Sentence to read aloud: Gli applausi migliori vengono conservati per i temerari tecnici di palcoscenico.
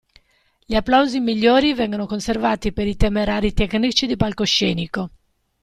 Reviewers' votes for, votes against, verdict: 2, 0, accepted